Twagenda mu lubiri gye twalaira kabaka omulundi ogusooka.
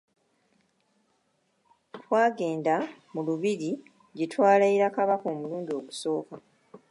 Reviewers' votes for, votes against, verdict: 2, 0, accepted